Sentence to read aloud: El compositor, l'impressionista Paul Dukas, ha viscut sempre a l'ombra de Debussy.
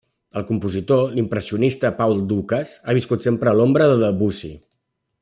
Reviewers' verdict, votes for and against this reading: rejected, 1, 2